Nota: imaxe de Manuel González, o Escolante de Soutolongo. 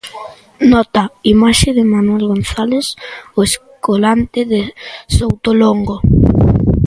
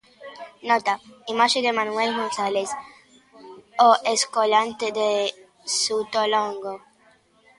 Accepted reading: first